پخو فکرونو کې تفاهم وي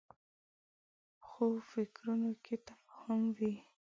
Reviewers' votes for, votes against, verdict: 0, 2, rejected